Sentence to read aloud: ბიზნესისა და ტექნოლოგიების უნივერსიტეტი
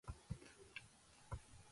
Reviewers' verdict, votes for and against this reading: rejected, 1, 2